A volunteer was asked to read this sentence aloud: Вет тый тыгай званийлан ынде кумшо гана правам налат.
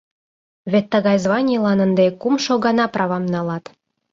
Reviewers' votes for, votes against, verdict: 0, 2, rejected